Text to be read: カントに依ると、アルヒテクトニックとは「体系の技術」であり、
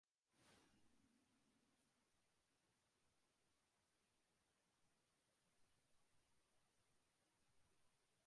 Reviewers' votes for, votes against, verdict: 1, 2, rejected